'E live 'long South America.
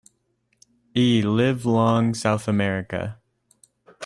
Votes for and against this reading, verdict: 1, 2, rejected